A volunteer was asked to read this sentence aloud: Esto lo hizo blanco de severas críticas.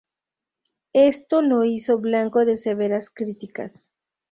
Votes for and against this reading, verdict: 2, 0, accepted